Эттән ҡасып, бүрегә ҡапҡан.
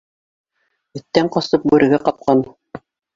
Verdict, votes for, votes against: accepted, 2, 1